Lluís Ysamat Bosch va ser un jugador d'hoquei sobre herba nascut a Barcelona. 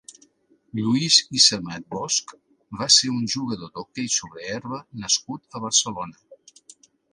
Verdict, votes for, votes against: accepted, 2, 0